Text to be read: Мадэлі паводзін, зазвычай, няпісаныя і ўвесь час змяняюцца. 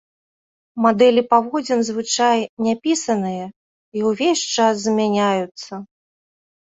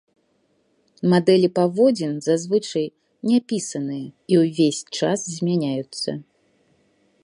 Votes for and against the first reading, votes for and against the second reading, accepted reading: 0, 2, 2, 0, second